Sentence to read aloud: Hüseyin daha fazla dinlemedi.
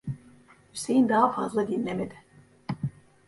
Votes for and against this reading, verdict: 1, 2, rejected